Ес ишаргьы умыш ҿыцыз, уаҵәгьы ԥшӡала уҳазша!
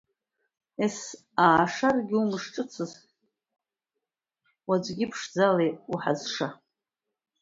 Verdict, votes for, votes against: rejected, 0, 2